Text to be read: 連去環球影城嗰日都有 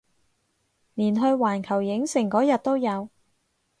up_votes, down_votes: 4, 0